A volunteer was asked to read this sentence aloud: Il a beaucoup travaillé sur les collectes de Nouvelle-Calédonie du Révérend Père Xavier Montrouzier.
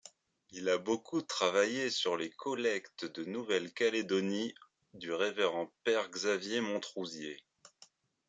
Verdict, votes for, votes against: accepted, 3, 0